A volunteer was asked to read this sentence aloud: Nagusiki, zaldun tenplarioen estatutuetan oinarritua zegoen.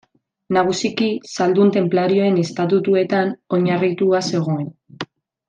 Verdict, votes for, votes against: accepted, 2, 0